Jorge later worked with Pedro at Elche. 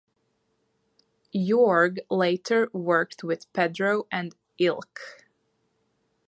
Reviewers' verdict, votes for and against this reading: accepted, 2, 0